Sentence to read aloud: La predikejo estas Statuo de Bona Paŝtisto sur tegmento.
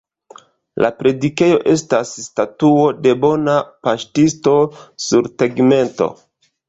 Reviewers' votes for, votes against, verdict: 2, 0, accepted